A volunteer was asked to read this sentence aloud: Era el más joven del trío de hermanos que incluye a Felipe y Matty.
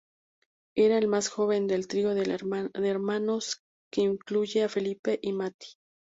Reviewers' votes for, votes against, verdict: 0, 2, rejected